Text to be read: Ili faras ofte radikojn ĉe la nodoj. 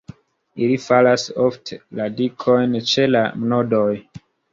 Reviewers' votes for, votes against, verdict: 2, 0, accepted